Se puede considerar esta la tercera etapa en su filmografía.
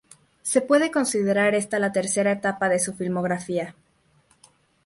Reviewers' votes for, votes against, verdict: 4, 0, accepted